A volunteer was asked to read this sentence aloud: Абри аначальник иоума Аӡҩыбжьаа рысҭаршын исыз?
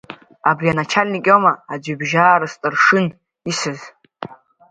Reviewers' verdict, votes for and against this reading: accepted, 2, 1